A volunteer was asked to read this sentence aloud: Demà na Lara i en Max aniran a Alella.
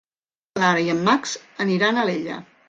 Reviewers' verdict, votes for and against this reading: rejected, 0, 2